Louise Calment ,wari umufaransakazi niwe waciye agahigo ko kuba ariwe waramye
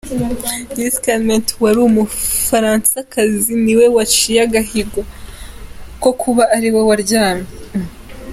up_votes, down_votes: 2, 1